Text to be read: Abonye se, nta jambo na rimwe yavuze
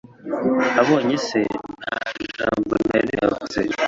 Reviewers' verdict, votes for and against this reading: rejected, 1, 2